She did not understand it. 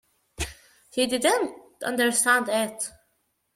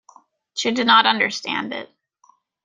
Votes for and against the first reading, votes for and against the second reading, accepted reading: 1, 2, 3, 0, second